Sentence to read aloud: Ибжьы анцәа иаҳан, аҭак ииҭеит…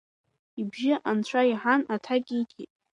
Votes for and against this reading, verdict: 2, 0, accepted